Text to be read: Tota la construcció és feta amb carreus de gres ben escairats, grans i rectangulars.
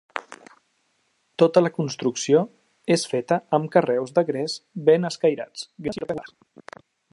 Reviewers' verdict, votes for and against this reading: rejected, 0, 2